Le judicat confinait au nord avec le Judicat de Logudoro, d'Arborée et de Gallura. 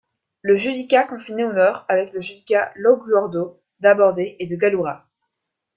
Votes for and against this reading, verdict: 2, 3, rejected